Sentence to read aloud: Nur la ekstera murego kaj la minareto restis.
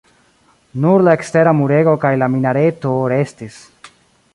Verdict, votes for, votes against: accepted, 2, 0